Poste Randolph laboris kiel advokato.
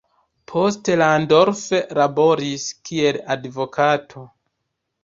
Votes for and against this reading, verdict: 1, 2, rejected